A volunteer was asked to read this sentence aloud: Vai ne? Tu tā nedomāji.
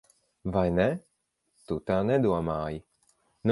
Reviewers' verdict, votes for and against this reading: accepted, 4, 0